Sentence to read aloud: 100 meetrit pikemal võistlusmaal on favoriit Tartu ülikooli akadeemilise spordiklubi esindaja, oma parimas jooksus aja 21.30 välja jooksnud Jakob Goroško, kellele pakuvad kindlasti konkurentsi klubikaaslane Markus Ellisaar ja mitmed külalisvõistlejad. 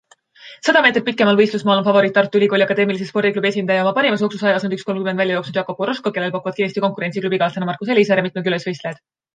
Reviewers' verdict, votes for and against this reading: rejected, 0, 2